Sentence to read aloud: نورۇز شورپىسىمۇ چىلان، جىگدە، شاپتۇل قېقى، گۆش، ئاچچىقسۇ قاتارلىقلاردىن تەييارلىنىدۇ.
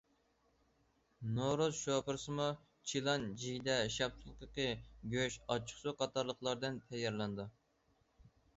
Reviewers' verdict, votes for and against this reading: rejected, 0, 2